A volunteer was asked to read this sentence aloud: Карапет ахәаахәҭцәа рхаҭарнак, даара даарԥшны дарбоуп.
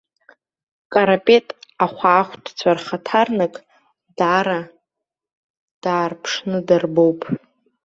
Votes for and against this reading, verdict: 0, 2, rejected